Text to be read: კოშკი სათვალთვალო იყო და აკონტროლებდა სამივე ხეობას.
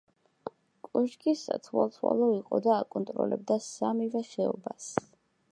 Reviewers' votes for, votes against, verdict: 1, 2, rejected